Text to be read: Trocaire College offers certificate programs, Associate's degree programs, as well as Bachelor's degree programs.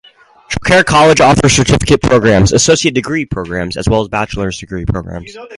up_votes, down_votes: 2, 0